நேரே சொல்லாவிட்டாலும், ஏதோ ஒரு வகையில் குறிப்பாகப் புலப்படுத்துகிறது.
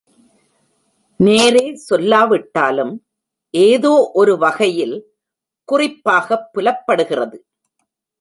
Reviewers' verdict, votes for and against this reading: rejected, 0, 2